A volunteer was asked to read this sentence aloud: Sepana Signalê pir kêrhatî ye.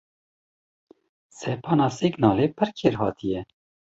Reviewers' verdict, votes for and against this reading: accepted, 2, 0